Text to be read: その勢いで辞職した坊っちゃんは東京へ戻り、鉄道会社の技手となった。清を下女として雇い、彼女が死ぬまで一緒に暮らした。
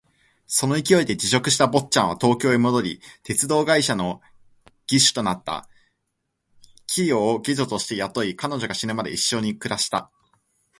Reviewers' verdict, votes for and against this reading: accepted, 3, 2